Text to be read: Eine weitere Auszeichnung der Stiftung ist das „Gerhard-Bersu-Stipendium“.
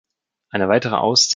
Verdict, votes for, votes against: rejected, 0, 2